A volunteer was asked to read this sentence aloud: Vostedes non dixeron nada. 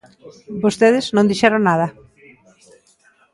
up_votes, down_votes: 2, 0